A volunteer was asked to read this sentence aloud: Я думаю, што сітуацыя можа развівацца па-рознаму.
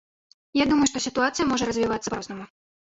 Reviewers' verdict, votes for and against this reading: rejected, 0, 2